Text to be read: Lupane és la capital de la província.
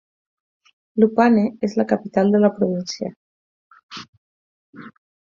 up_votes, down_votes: 4, 0